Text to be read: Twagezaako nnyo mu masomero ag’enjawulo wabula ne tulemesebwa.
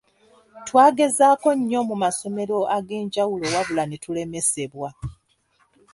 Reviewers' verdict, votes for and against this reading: accepted, 2, 1